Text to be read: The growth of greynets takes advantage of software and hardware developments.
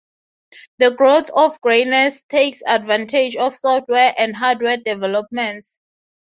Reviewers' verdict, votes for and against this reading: accepted, 3, 0